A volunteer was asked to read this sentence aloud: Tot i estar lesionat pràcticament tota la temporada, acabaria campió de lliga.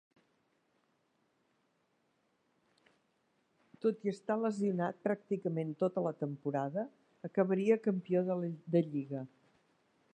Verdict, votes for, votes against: rejected, 0, 2